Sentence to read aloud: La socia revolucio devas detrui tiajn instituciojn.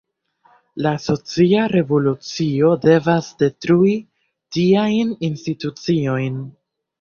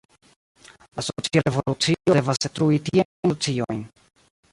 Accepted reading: first